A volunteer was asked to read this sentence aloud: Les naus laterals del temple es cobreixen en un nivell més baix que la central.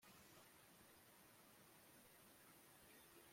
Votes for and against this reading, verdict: 0, 2, rejected